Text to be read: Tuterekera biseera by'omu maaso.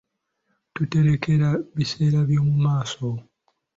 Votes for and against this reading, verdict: 2, 0, accepted